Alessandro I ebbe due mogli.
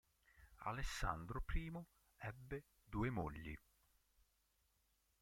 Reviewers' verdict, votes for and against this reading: rejected, 0, 2